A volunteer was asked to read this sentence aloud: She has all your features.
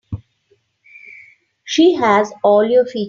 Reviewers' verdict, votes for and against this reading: rejected, 0, 3